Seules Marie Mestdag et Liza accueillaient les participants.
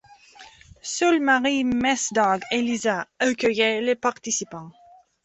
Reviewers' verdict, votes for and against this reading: rejected, 1, 2